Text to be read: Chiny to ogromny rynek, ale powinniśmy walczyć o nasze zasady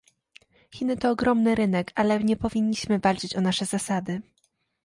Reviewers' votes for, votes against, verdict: 0, 2, rejected